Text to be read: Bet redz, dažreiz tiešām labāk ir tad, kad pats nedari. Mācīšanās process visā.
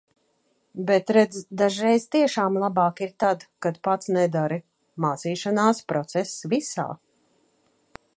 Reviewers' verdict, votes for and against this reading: accepted, 2, 0